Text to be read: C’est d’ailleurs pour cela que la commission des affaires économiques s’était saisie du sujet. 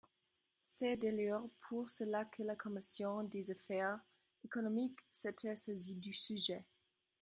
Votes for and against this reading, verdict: 0, 2, rejected